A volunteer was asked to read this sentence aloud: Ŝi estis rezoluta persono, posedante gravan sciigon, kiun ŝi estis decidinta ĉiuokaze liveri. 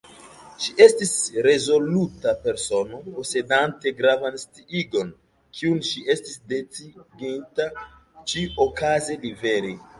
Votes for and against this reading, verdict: 1, 2, rejected